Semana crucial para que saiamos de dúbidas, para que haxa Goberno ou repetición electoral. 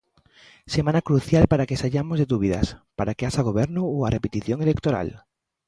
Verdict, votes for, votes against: rejected, 0, 2